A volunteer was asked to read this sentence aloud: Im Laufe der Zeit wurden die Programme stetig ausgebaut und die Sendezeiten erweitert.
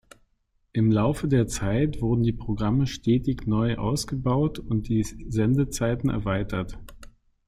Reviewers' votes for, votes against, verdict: 0, 2, rejected